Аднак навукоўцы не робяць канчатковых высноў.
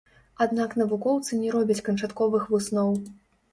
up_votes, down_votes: 0, 2